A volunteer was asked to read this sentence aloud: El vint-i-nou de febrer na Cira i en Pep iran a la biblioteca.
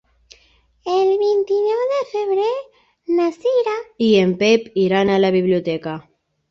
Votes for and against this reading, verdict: 0, 3, rejected